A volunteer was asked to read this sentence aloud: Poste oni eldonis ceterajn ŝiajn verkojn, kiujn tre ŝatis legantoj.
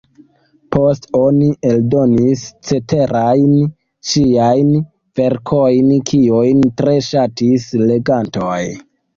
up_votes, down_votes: 2, 1